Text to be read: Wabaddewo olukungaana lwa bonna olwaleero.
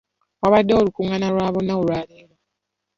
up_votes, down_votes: 2, 0